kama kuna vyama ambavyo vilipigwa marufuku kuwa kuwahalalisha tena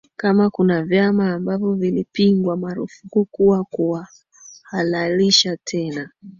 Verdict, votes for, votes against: rejected, 1, 2